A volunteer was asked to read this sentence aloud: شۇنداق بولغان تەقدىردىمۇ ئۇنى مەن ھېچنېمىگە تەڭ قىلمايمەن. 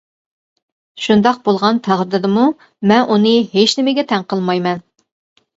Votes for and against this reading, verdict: 0, 2, rejected